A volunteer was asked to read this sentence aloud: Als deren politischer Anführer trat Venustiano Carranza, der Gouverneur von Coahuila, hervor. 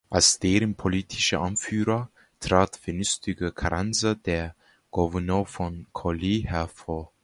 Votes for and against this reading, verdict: 2, 1, accepted